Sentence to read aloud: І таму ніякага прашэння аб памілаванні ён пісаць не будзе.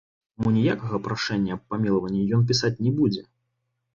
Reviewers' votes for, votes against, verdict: 1, 2, rejected